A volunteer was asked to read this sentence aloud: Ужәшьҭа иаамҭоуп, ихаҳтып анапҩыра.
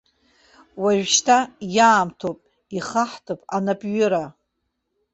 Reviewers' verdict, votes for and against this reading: accepted, 2, 0